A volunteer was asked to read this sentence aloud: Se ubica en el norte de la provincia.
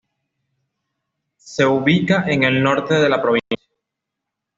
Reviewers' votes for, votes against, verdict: 2, 1, accepted